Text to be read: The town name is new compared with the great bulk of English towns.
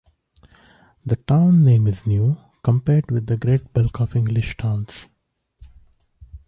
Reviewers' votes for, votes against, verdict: 1, 2, rejected